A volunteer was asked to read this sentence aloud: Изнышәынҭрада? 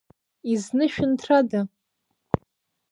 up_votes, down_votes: 2, 0